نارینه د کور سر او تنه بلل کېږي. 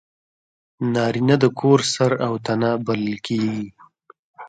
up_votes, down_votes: 2, 0